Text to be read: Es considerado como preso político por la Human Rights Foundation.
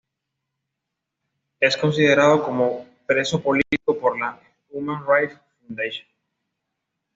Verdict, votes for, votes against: accepted, 2, 0